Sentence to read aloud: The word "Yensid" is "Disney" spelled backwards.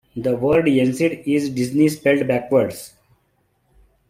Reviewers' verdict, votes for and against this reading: accepted, 2, 0